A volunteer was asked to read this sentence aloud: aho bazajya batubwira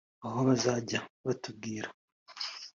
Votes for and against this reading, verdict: 3, 0, accepted